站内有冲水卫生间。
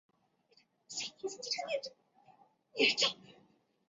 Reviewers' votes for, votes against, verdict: 0, 4, rejected